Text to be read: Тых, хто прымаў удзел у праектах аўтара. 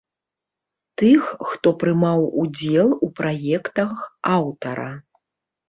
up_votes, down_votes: 2, 0